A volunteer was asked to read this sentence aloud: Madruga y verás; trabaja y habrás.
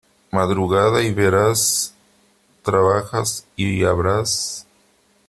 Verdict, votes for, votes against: rejected, 0, 3